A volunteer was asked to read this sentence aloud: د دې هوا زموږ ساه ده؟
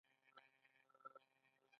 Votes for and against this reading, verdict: 2, 1, accepted